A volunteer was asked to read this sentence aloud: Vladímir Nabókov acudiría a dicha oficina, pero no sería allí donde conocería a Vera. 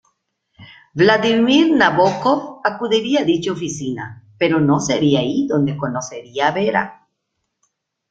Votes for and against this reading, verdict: 1, 2, rejected